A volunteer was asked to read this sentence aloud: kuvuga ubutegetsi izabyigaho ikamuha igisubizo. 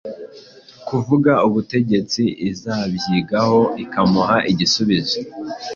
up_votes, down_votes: 2, 0